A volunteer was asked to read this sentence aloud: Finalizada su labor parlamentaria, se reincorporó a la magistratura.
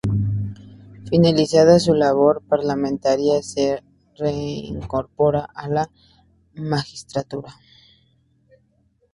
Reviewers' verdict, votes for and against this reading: rejected, 0, 2